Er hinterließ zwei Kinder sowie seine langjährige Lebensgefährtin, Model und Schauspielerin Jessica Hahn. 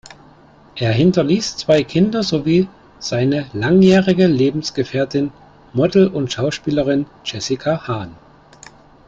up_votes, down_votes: 2, 1